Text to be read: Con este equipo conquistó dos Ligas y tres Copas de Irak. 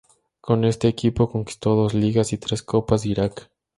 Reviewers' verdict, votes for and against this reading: accepted, 6, 0